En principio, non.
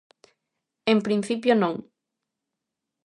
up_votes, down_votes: 2, 0